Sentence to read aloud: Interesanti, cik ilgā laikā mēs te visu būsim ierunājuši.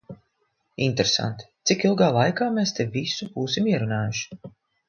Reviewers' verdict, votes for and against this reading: accepted, 2, 0